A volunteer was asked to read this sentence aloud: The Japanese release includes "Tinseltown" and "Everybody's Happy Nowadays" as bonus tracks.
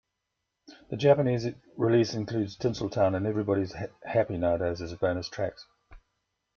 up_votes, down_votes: 1, 2